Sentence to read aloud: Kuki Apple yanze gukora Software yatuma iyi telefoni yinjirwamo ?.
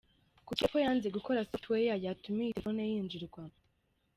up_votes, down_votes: 2, 0